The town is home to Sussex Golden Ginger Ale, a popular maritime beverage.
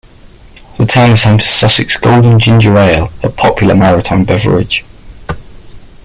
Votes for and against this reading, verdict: 2, 0, accepted